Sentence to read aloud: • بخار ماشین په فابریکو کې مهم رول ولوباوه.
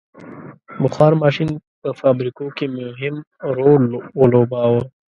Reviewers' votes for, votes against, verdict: 2, 1, accepted